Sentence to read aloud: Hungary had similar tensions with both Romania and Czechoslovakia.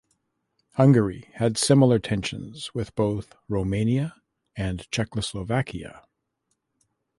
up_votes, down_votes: 2, 0